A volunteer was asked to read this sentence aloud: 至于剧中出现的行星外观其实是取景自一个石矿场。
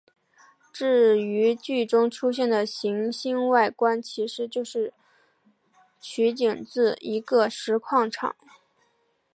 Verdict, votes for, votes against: accepted, 2, 0